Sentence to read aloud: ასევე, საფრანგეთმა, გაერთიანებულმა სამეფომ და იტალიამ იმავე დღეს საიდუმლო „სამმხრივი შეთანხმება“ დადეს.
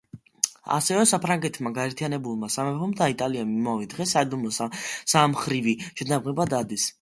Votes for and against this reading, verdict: 1, 2, rejected